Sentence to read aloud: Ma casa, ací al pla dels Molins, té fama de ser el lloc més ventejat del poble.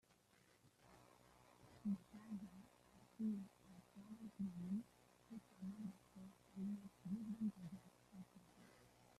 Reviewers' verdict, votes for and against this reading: rejected, 0, 2